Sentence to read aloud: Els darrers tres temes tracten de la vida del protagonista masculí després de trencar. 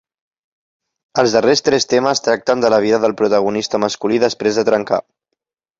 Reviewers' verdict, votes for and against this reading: accepted, 3, 0